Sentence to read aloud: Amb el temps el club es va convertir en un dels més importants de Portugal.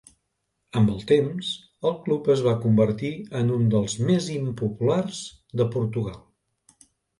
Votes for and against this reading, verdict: 0, 2, rejected